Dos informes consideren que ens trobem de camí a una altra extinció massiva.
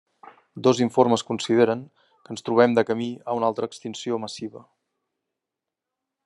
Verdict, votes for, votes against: accepted, 3, 0